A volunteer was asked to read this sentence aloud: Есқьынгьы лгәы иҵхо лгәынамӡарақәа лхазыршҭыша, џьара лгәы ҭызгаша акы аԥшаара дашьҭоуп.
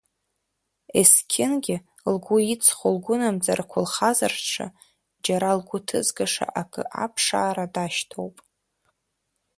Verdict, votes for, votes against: rejected, 1, 2